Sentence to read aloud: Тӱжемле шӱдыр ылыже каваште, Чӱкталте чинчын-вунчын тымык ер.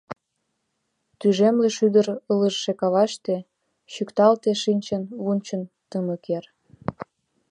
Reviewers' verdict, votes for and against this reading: rejected, 1, 2